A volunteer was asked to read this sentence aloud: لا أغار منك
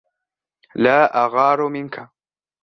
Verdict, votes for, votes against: accepted, 2, 0